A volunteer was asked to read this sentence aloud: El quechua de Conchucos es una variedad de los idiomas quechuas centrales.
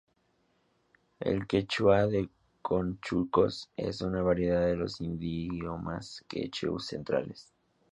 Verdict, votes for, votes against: rejected, 0, 2